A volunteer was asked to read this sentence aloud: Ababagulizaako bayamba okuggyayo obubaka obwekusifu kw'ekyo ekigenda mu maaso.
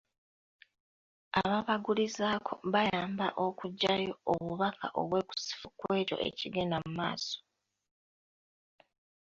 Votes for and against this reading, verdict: 2, 1, accepted